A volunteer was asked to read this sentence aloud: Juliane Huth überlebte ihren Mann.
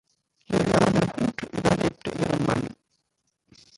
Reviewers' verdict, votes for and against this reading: rejected, 0, 2